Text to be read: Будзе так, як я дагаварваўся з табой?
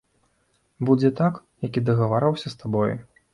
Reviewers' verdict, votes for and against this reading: accepted, 2, 1